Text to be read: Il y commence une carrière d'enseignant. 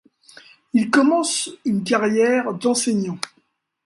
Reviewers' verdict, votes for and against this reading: rejected, 1, 2